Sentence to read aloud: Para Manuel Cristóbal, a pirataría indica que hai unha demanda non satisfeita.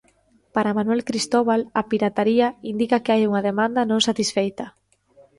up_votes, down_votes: 3, 0